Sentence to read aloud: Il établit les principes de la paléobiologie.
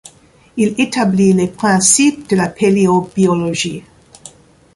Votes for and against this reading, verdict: 2, 1, accepted